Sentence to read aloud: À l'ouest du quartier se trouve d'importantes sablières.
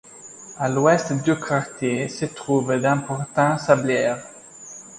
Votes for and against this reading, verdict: 2, 1, accepted